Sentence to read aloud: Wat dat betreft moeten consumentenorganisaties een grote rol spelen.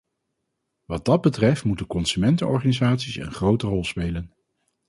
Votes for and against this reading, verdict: 4, 0, accepted